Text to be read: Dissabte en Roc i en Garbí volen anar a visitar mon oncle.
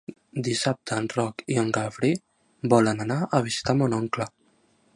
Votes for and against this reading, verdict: 2, 0, accepted